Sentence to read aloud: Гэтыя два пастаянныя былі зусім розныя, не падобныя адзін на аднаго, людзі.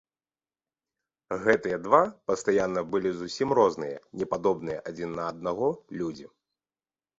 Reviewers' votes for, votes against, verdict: 0, 2, rejected